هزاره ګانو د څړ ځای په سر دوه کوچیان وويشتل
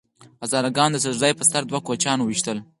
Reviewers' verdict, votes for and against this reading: accepted, 4, 0